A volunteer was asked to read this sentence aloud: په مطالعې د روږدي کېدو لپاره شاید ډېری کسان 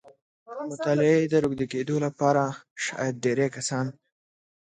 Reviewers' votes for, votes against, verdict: 2, 0, accepted